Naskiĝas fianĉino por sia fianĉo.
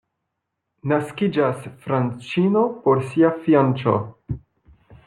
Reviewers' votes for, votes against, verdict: 0, 2, rejected